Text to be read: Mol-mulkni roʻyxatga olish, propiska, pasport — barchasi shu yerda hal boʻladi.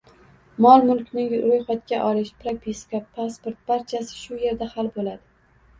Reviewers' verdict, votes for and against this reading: accepted, 2, 0